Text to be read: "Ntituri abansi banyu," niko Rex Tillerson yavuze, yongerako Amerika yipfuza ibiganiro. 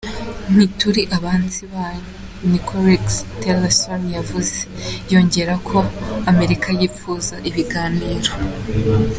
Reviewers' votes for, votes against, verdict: 2, 0, accepted